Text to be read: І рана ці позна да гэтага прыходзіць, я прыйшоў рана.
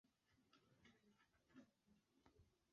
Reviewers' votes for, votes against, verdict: 0, 2, rejected